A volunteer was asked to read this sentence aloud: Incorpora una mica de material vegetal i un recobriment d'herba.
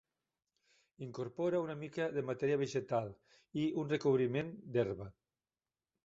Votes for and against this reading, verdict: 0, 2, rejected